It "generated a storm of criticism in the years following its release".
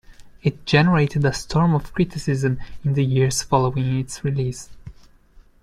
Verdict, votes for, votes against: accepted, 3, 0